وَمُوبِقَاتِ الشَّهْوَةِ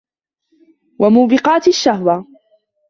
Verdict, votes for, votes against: rejected, 1, 2